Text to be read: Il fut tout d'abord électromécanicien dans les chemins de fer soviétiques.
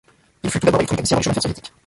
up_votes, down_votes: 0, 2